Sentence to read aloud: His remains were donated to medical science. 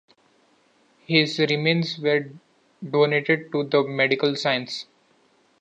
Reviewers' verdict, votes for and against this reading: accepted, 2, 1